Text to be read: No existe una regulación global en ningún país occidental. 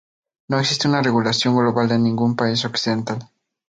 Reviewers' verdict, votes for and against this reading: accepted, 2, 0